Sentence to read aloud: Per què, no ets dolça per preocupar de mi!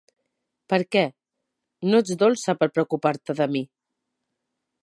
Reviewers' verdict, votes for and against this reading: rejected, 0, 2